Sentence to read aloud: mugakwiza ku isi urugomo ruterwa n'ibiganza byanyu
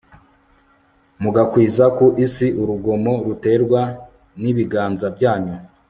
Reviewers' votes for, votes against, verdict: 3, 0, accepted